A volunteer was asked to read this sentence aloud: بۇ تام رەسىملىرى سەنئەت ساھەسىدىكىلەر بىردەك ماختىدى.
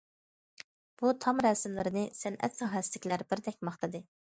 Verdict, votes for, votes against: rejected, 1, 2